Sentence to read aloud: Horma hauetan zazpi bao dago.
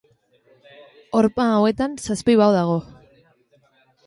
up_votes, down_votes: 2, 0